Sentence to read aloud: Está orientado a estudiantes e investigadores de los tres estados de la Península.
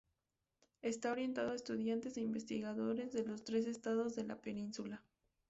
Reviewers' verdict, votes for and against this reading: accepted, 2, 0